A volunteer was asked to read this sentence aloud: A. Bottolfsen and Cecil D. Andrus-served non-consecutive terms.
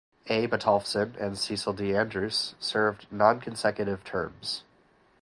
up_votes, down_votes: 2, 2